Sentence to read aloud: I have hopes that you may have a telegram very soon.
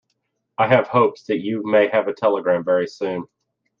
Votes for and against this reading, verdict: 2, 0, accepted